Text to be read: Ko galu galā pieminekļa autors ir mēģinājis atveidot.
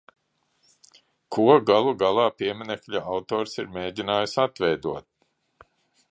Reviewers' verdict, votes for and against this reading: rejected, 0, 2